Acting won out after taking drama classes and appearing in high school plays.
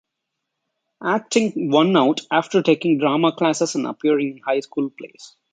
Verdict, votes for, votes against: rejected, 0, 2